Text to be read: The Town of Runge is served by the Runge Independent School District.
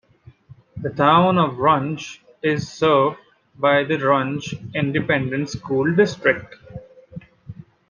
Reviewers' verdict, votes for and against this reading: accepted, 2, 0